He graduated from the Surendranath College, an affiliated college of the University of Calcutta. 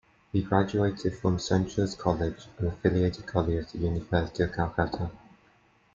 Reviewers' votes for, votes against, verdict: 0, 2, rejected